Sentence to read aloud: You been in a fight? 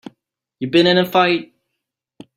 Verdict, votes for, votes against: accepted, 3, 0